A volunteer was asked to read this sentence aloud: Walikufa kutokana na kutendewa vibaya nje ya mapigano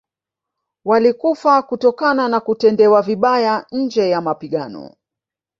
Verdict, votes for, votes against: rejected, 1, 2